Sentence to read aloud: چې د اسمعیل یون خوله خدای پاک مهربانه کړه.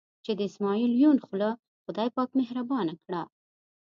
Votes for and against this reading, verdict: 2, 0, accepted